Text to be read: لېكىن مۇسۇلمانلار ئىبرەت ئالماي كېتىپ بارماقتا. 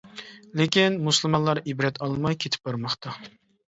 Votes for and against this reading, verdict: 2, 0, accepted